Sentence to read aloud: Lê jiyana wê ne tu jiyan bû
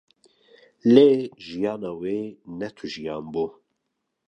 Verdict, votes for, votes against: accepted, 2, 0